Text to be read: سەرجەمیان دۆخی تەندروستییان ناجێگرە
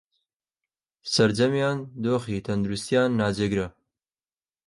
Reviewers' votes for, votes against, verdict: 2, 0, accepted